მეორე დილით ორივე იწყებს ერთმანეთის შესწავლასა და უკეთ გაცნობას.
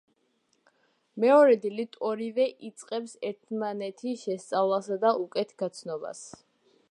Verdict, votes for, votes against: accepted, 2, 0